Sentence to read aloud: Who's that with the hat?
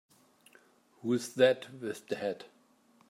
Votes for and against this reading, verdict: 2, 0, accepted